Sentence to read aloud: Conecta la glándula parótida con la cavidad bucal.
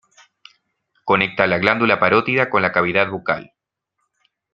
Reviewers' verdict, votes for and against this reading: accepted, 2, 0